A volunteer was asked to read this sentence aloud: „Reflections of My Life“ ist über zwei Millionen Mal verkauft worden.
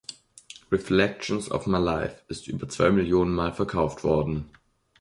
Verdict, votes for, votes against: accepted, 2, 0